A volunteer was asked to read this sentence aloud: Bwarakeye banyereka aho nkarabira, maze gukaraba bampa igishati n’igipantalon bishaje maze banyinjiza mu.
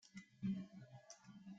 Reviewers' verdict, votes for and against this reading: rejected, 0, 2